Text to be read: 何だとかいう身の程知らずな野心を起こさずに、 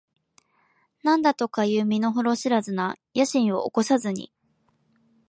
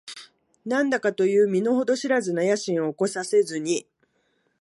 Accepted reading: first